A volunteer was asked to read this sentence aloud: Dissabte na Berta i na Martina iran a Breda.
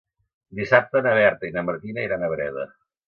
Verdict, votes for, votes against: accepted, 2, 0